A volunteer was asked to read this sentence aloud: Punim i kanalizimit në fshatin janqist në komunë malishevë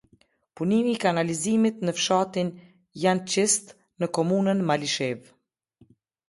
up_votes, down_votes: 0, 2